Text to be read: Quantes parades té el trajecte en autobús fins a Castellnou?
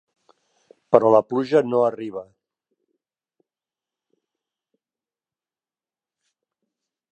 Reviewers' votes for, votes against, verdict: 0, 2, rejected